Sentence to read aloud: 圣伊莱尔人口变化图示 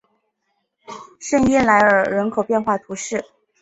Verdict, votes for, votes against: rejected, 0, 2